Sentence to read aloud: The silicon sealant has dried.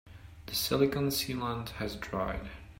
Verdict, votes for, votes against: accepted, 2, 1